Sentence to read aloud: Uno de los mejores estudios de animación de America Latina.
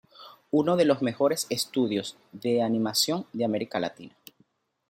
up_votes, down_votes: 2, 0